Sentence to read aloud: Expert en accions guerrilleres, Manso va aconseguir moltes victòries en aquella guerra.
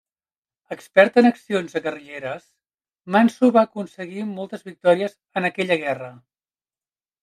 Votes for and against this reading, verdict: 1, 2, rejected